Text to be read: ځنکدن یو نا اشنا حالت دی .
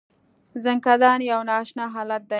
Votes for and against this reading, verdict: 0, 2, rejected